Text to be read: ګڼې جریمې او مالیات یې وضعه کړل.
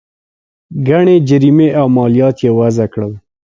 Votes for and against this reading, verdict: 2, 0, accepted